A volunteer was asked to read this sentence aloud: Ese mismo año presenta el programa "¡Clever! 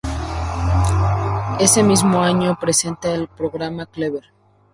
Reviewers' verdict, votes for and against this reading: rejected, 0, 2